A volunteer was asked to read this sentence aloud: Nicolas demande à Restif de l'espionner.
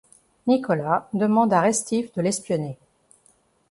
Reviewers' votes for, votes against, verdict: 3, 0, accepted